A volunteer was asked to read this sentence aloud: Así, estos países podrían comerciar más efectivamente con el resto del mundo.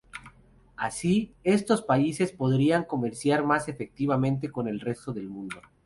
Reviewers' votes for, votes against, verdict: 2, 2, rejected